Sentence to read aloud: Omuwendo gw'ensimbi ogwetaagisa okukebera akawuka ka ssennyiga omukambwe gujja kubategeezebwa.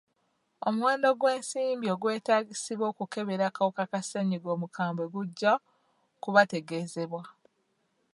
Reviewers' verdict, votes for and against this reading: accepted, 2, 0